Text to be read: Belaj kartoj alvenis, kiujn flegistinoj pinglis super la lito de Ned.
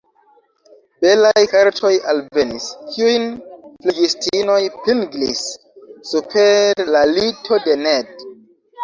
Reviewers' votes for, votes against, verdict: 2, 1, accepted